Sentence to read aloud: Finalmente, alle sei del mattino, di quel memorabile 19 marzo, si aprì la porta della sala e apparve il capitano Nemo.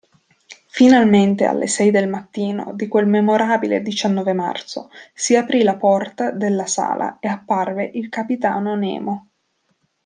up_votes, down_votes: 0, 2